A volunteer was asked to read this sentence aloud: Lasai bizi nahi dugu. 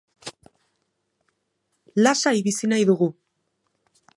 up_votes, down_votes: 2, 0